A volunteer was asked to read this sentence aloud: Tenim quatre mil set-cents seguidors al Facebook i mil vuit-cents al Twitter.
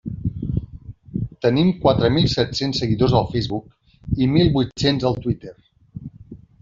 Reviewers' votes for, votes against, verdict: 3, 1, accepted